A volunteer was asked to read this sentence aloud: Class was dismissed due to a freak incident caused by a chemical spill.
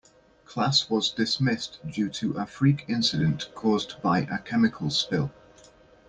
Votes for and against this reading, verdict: 1, 2, rejected